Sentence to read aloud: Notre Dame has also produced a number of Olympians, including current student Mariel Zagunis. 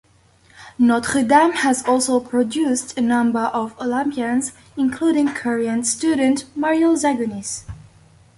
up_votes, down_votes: 2, 0